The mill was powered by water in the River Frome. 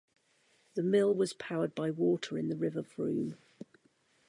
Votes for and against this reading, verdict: 1, 2, rejected